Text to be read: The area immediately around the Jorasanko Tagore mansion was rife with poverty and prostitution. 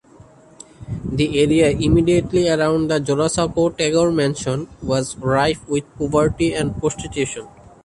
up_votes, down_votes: 1, 2